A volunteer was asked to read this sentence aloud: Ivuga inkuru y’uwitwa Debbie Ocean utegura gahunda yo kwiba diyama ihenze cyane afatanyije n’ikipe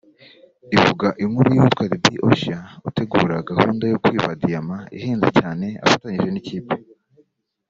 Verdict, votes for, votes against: accepted, 2, 0